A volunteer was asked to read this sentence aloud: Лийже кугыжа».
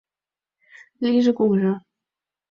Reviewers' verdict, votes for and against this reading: accepted, 2, 0